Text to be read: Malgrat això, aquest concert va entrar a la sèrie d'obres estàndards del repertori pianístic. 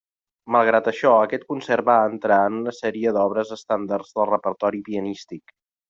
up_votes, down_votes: 1, 2